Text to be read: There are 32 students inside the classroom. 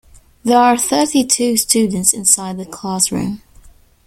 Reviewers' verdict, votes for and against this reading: rejected, 0, 2